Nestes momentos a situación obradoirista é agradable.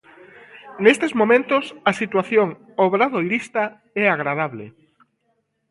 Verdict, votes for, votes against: accepted, 2, 0